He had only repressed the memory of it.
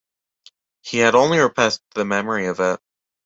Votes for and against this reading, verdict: 1, 2, rejected